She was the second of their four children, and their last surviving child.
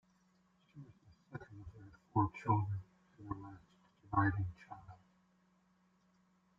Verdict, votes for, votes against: rejected, 0, 2